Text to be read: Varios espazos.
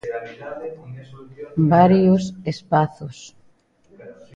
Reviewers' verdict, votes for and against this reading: accepted, 2, 0